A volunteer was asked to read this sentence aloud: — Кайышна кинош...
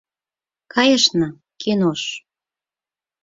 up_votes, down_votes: 6, 0